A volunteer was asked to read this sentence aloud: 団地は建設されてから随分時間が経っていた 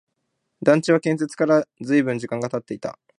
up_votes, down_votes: 0, 2